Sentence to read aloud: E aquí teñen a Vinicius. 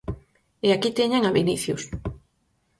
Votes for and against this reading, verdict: 4, 0, accepted